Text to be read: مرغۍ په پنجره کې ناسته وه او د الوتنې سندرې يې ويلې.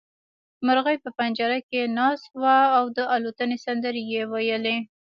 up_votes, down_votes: 0, 2